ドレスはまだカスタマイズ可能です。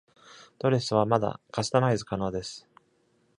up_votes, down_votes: 2, 0